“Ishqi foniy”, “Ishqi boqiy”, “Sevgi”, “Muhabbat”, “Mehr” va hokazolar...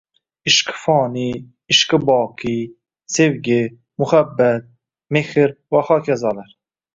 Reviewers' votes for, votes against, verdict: 1, 2, rejected